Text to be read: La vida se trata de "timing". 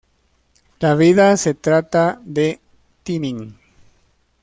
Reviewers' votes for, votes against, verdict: 2, 0, accepted